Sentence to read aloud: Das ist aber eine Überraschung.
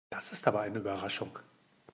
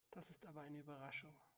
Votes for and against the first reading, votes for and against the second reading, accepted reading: 2, 0, 1, 2, first